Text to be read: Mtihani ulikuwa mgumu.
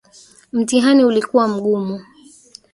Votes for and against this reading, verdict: 1, 2, rejected